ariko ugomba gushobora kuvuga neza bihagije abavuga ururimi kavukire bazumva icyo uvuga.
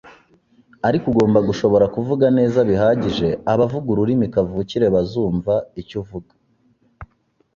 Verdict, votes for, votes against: accepted, 2, 0